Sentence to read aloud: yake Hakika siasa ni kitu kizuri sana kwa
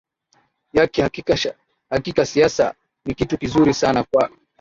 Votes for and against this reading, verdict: 0, 2, rejected